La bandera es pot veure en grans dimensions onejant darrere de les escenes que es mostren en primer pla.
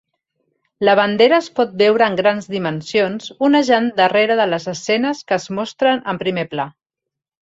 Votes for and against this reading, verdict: 3, 0, accepted